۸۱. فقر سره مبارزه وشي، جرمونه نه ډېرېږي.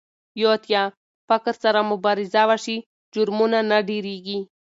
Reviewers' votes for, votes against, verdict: 0, 2, rejected